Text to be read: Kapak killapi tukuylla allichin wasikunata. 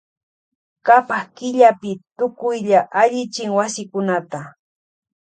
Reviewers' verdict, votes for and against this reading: accepted, 2, 0